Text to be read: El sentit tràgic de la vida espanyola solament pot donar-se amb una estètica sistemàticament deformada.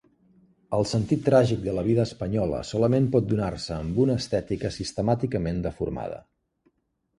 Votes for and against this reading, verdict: 2, 0, accepted